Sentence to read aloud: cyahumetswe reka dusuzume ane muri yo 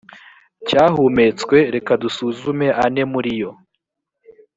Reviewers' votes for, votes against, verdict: 2, 0, accepted